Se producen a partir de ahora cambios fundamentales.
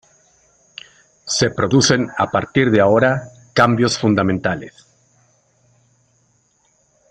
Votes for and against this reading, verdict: 2, 0, accepted